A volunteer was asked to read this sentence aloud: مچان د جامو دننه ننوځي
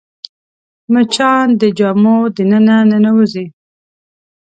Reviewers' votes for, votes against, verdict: 2, 0, accepted